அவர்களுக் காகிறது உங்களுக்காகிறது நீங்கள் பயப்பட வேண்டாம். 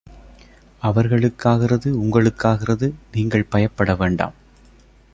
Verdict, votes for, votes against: accepted, 2, 0